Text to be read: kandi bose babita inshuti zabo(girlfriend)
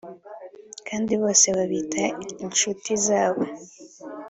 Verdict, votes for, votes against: rejected, 1, 2